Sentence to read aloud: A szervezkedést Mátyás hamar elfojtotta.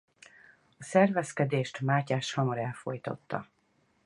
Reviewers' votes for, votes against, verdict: 4, 0, accepted